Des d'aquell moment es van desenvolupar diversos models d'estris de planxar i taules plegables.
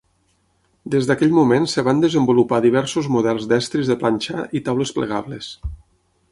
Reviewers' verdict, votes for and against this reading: rejected, 0, 6